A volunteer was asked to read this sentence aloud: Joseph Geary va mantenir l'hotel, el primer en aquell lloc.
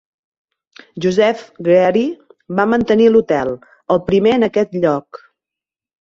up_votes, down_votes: 3, 4